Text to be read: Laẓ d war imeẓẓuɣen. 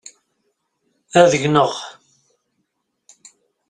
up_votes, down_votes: 0, 2